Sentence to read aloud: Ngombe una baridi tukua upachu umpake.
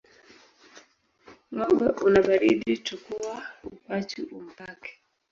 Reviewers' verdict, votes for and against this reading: rejected, 1, 2